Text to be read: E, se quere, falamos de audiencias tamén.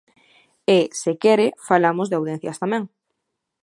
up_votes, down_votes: 1, 2